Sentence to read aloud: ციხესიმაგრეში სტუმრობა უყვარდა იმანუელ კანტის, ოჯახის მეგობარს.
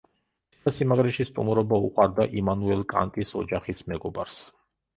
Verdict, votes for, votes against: rejected, 1, 2